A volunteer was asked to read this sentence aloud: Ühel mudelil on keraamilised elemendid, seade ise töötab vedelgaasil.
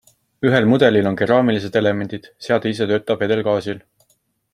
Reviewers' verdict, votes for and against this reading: accepted, 2, 0